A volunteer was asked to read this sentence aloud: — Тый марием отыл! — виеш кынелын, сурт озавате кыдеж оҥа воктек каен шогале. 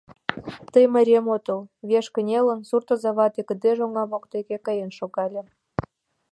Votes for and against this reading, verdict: 1, 2, rejected